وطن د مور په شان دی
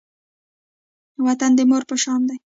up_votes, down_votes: 2, 0